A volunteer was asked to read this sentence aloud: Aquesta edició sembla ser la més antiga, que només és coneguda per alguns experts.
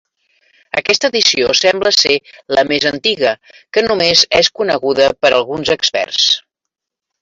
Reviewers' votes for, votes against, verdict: 4, 0, accepted